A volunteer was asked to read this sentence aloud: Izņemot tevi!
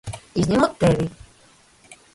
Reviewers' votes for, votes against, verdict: 1, 2, rejected